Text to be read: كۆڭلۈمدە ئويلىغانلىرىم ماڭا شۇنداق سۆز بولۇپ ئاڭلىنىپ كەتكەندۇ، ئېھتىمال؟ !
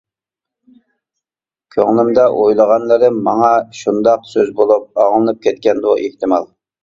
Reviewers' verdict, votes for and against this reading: accepted, 2, 0